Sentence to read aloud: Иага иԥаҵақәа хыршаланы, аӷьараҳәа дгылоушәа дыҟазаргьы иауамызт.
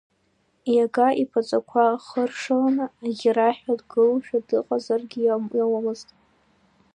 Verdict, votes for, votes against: accepted, 3, 0